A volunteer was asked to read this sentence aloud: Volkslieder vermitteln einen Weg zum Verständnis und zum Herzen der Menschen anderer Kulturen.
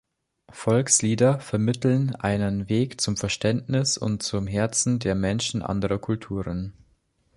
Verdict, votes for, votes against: accepted, 2, 0